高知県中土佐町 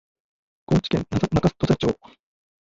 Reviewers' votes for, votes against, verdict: 0, 2, rejected